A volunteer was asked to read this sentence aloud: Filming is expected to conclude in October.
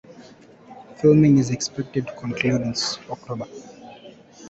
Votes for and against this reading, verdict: 0, 2, rejected